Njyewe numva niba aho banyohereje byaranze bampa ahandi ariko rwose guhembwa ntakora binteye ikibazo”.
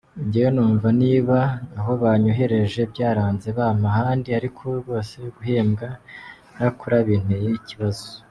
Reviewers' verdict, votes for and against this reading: accepted, 2, 1